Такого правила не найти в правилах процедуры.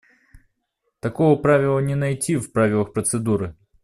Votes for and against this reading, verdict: 2, 0, accepted